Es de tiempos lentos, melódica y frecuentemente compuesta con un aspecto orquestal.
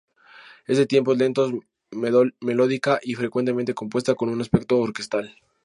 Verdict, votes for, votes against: rejected, 2, 2